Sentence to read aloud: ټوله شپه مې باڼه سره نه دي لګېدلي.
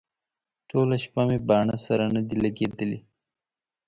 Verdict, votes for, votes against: accepted, 2, 0